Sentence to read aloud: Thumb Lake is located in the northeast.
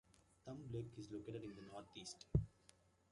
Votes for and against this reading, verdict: 2, 0, accepted